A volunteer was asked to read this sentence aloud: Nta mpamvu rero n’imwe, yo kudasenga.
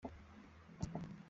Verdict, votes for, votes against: rejected, 0, 2